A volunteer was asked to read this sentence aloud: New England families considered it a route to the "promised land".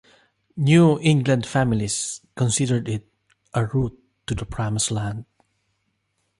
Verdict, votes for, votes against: accepted, 2, 0